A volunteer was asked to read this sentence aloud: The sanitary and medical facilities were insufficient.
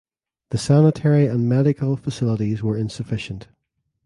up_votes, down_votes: 3, 0